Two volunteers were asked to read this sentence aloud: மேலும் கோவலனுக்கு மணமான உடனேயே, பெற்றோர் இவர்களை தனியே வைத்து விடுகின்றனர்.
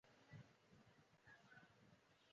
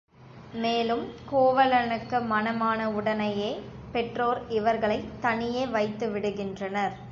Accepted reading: second